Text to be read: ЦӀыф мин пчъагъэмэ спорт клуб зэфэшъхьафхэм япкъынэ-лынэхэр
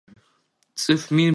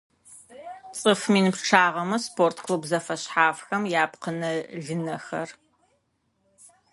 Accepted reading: second